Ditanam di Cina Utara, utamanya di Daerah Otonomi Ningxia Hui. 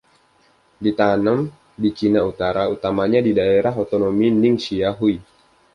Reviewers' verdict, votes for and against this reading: rejected, 1, 2